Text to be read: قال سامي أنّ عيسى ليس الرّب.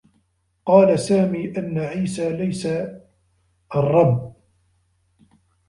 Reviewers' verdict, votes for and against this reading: rejected, 1, 2